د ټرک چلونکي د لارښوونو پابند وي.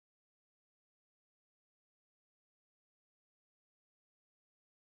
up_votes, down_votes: 0, 2